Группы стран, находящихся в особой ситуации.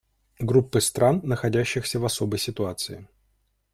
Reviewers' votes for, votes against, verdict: 2, 0, accepted